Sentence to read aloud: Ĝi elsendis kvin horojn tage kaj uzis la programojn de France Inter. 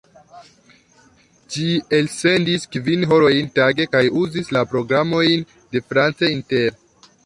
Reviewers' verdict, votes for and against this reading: accepted, 2, 0